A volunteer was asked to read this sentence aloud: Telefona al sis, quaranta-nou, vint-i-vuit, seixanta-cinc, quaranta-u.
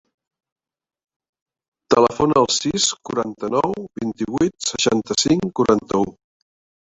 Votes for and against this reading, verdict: 1, 2, rejected